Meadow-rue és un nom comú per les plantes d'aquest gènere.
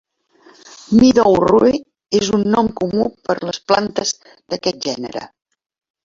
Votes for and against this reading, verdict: 1, 2, rejected